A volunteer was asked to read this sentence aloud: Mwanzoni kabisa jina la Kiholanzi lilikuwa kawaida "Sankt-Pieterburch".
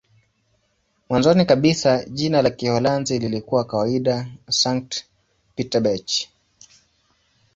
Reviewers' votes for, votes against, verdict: 2, 0, accepted